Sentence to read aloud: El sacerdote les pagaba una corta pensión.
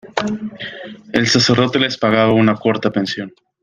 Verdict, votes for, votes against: accepted, 2, 0